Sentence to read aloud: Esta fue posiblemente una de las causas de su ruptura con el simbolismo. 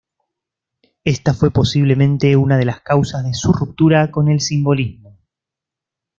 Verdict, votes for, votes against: accepted, 2, 0